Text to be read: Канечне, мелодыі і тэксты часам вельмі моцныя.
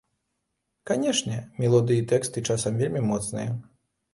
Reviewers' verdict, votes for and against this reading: accepted, 2, 0